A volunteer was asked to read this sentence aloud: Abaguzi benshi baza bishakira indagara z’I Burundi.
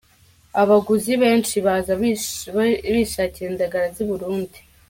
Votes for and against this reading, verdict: 0, 2, rejected